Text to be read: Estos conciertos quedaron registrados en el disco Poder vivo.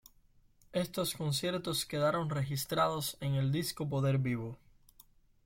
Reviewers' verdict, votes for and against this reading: accepted, 2, 0